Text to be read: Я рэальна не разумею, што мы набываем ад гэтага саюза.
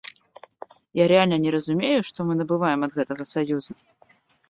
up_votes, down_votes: 0, 2